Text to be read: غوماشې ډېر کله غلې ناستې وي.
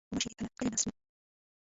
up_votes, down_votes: 1, 2